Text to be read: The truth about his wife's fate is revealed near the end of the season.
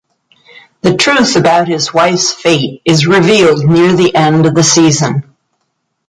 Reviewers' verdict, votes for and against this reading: accepted, 2, 0